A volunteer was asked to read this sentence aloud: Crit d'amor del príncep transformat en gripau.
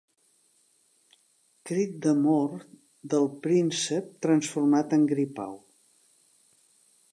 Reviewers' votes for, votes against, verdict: 2, 0, accepted